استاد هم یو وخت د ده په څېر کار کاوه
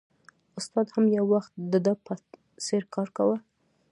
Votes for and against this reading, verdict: 2, 0, accepted